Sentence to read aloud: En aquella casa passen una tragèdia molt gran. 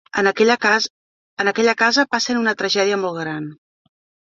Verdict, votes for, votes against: rejected, 0, 2